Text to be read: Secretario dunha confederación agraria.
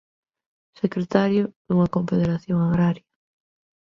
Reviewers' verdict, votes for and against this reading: rejected, 1, 2